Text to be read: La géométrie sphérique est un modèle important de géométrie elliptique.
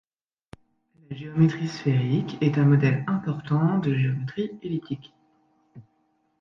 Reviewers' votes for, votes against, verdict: 1, 2, rejected